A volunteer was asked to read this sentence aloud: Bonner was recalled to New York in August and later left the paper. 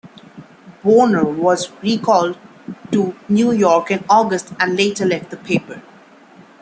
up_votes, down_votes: 1, 2